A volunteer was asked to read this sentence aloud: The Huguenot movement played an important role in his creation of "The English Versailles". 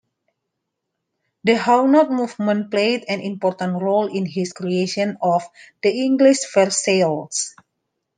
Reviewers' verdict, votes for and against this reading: rejected, 0, 2